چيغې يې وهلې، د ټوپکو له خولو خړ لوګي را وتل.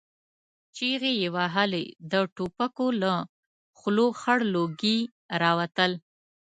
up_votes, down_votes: 2, 0